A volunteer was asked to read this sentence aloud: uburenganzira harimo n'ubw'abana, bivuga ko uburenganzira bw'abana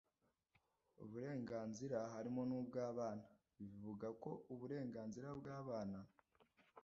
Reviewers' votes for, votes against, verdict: 2, 1, accepted